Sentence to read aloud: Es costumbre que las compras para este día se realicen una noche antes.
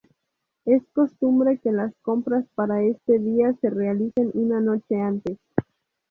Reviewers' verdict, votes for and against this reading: rejected, 0, 2